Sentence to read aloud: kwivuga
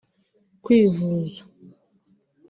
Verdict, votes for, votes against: rejected, 2, 3